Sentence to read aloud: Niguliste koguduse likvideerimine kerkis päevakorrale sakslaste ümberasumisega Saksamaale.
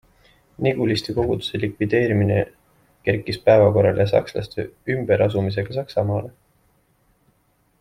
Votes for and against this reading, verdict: 2, 0, accepted